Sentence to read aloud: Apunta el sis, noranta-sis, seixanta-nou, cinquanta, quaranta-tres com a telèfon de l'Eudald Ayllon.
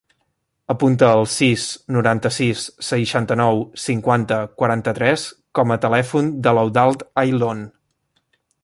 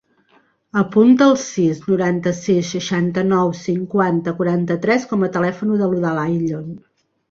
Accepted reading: second